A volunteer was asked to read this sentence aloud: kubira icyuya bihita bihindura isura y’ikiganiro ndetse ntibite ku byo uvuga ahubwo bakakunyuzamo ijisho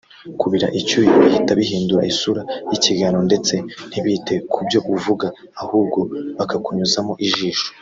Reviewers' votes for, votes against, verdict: 2, 1, accepted